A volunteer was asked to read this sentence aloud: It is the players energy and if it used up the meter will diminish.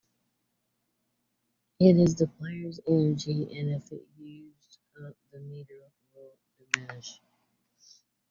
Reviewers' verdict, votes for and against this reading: rejected, 0, 2